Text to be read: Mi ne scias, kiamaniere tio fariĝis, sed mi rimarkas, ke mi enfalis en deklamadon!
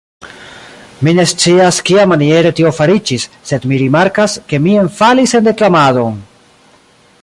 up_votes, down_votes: 2, 0